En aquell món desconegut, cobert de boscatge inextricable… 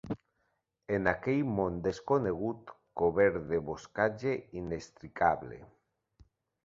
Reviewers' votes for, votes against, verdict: 3, 1, accepted